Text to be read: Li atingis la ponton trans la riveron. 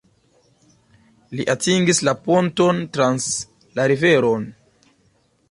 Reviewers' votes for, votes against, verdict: 2, 1, accepted